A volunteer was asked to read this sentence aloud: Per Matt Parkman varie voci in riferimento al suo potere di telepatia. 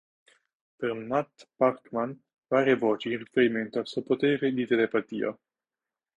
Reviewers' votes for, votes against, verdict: 2, 0, accepted